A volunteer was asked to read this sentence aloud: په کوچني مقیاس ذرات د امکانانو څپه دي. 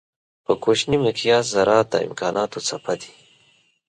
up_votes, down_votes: 2, 0